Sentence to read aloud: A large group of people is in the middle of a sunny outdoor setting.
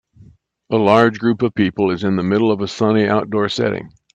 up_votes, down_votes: 2, 0